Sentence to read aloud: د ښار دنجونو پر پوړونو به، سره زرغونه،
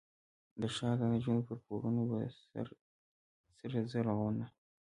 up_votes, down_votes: 2, 1